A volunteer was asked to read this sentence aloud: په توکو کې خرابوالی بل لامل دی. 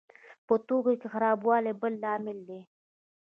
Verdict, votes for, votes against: rejected, 0, 2